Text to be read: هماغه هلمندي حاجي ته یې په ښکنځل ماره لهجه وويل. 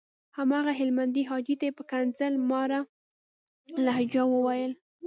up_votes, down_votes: 2, 0